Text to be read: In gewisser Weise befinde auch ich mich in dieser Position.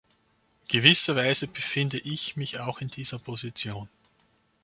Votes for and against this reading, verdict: 1, 2, rejected